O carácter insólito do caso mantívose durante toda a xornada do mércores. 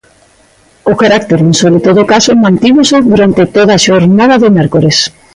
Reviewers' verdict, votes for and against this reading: accepted, 2, 0